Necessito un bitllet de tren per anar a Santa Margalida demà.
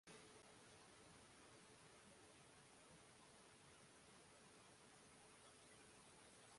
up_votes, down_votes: 0, 2